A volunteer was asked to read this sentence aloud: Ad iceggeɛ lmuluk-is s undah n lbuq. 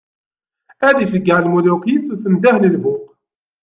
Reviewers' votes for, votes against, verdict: 2, 0, accepted